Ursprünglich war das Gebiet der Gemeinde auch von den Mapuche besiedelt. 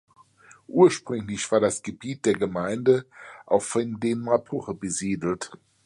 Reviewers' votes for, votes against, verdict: 1, 2, rejected